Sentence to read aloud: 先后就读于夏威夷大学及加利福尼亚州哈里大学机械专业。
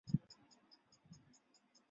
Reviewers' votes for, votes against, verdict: 0, 2, rejected